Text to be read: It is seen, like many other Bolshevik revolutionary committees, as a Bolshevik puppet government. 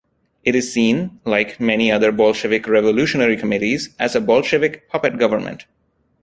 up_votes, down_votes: 2, 0